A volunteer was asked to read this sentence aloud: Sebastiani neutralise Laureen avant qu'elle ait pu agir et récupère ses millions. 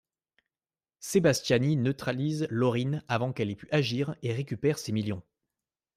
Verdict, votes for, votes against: accepted, 2, 0